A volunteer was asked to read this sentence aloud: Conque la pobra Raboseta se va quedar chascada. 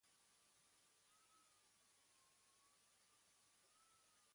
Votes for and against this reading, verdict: 0, 2, rejected